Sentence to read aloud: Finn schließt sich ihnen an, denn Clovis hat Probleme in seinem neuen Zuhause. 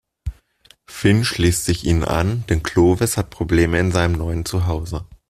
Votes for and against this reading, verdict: 2, 0, accepted